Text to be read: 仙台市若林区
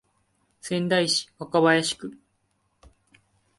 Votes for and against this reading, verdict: 2, 0, accepted